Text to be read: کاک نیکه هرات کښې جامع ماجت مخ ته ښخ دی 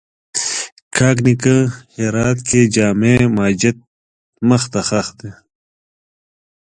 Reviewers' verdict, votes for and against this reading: accepted, 2, 0